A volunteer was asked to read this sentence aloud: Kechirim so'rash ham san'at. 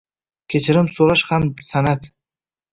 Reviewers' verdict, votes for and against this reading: accepted, 2, 0